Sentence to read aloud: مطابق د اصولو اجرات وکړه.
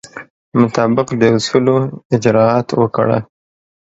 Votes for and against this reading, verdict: 2, 0, accepted